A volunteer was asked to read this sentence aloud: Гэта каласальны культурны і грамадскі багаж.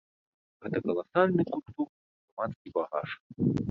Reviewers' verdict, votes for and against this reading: rejected, 1, 2